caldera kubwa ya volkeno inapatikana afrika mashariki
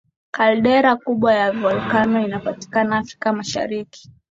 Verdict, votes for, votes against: accepted, 3, 0